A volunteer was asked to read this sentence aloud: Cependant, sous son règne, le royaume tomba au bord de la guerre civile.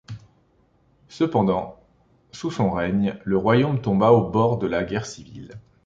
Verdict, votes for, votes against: accepted, 2, 0